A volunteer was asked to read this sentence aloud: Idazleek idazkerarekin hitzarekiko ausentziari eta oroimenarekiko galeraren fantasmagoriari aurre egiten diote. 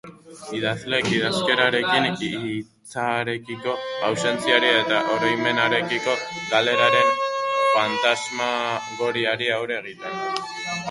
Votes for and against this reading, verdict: 2, 2, rejected